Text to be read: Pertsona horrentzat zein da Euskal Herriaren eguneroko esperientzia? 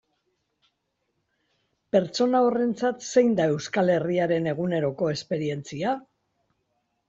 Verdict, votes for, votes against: accepted, 2, 1